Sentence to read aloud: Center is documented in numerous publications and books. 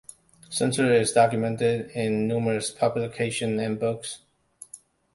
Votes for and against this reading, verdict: 1, 2, rejected